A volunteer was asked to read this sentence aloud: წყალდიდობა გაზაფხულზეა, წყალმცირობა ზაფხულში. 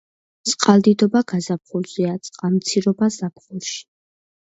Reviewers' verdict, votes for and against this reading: accepted, 2, 0